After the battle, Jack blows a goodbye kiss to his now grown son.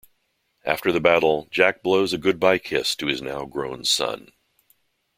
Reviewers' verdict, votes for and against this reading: accepted, 2, 0